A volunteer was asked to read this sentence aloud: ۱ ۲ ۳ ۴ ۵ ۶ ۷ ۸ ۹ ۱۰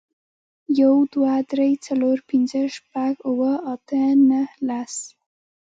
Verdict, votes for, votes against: rejected, 0, 2